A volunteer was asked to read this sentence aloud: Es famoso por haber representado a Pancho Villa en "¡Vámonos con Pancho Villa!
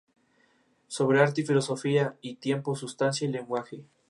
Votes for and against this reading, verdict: 0, 2, rejected